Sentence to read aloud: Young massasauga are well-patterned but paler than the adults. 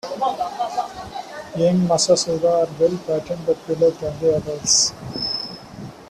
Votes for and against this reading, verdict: 2, 0, accepted